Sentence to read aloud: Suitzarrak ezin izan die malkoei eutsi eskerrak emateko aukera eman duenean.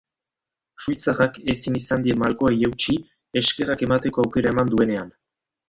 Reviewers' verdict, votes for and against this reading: accepted, 3, 1